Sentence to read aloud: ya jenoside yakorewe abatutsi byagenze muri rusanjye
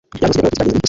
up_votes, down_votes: 1, 2